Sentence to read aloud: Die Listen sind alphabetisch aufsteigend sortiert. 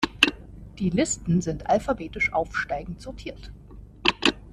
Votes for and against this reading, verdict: 2, 0, accepted